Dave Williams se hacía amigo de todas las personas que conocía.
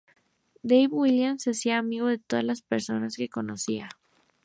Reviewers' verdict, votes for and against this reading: accepted, 2, 0